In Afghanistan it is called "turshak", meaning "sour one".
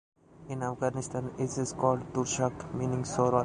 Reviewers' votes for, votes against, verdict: 0, 2, rejected